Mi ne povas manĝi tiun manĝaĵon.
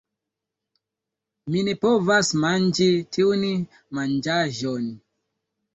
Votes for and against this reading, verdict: 0, 2, rejected